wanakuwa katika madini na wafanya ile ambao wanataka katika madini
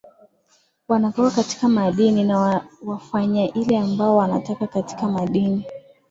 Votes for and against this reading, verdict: 2, 0, accepted